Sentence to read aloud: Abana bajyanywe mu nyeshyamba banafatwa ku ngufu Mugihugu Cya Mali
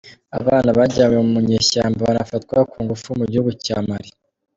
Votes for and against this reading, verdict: 2, 0, accepted